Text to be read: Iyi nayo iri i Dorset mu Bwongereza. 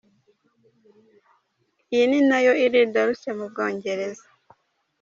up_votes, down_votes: 2, 1